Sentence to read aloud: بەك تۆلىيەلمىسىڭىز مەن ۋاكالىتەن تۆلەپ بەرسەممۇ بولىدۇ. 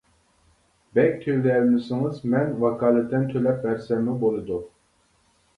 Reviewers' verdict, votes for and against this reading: accepted, 2, 0